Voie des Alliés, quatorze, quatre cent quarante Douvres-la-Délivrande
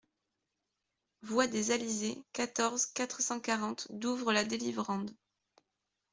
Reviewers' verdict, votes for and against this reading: rejected, 0, 2